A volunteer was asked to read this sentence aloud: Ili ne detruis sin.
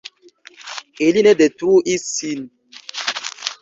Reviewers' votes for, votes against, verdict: 2, 3, rejected